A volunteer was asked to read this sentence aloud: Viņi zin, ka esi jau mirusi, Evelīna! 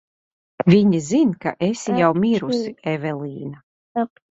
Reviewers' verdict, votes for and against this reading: rejected, 0, 2